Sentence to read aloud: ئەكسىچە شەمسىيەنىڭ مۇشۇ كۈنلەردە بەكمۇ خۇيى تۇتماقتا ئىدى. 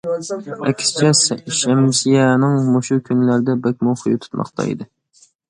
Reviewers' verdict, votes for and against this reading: rejected, 0, 2